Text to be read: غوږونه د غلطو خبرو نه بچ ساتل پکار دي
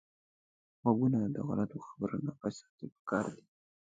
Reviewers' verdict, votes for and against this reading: rejected, 1, 2